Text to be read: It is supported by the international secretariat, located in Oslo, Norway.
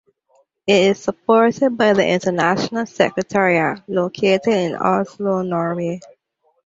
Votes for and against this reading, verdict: 2, 0, accepted